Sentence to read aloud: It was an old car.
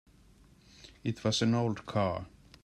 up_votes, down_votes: 2, 0